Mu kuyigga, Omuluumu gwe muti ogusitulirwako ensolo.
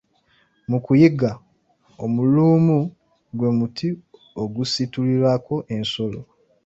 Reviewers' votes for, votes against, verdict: 0, 2, rejected